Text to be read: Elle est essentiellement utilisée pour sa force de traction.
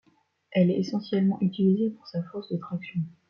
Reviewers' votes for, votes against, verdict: 2, 0, accepted